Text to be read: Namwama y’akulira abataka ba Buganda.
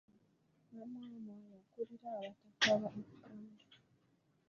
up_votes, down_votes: 0, 2